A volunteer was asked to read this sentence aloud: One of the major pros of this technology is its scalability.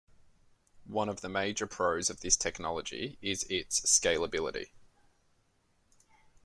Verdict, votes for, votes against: accepted, 2, 0